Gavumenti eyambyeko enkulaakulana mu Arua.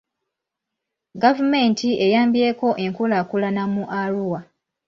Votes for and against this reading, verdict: 2, 0, accepted